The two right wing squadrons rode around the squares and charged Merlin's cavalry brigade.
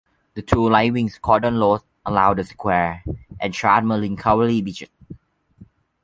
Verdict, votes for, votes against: rejected, 0, 2